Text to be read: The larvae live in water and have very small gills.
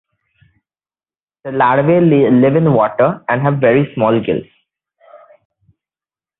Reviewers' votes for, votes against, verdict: 1, 2, rejected